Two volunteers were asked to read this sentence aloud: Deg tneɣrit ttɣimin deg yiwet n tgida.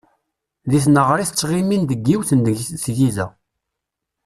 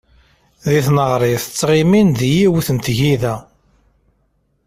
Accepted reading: second